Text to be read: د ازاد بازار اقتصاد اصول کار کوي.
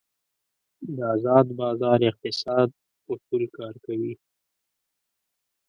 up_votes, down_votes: 0, 2